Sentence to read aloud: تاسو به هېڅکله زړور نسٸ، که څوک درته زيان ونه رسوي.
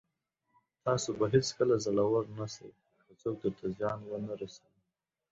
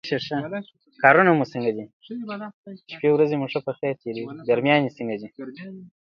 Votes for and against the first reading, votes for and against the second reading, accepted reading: 2, 0, 0, 3, first